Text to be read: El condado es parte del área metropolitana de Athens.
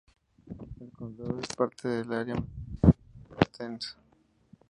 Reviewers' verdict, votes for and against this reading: rejected, 0, 2